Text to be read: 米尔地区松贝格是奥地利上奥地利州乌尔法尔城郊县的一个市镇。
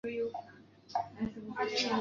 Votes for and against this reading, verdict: 0, 2, rejected